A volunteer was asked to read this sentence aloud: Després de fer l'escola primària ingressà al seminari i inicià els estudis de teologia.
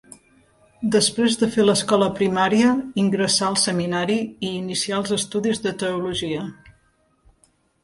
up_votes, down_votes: 2, 0